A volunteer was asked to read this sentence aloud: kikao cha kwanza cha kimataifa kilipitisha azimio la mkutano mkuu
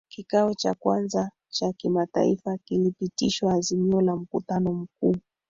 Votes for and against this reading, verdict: 1, 3, rejected